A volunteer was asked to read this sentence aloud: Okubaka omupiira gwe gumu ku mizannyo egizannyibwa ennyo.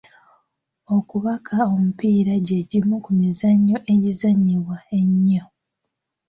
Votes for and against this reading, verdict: 1, 2, rejected